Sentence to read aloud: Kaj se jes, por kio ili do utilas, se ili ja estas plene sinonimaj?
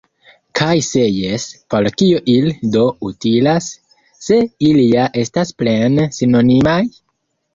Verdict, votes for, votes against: rejected, 1, 2